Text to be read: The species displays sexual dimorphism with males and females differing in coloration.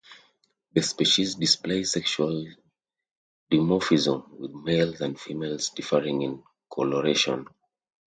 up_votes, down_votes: 2, 0